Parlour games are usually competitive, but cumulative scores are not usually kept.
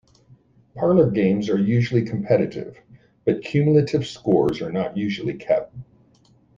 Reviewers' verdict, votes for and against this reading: rejected, 1, 2